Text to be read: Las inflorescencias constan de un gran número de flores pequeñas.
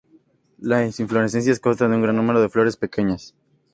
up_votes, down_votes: 2, 0